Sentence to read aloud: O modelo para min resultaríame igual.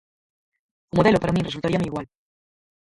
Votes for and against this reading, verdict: 0, 4, rejected